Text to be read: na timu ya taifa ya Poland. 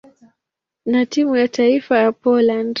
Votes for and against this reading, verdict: 2, 0, accepted